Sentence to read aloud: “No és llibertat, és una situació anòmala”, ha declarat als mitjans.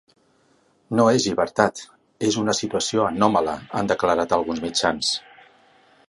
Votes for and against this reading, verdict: 0, 2, rejected